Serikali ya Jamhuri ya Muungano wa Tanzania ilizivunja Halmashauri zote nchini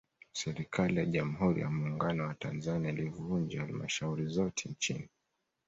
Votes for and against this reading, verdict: 2, 0, accepted